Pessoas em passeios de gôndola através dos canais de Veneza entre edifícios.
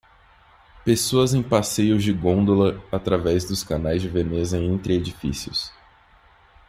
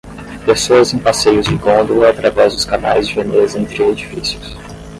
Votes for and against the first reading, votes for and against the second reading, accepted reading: 2, 0, 5, 5, first